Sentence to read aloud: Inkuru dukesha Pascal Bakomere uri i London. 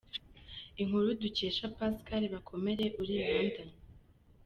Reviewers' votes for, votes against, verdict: 2, 0, accepted